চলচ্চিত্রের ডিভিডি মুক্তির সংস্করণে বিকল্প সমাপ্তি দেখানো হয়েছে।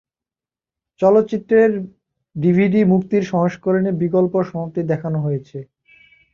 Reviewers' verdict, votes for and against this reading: accepted, 2, 0